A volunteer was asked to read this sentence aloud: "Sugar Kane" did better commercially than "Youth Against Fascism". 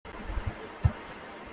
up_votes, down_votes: 0, 2